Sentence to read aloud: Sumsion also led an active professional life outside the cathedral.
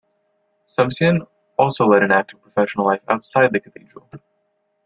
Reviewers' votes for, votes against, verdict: 1, 2, rejected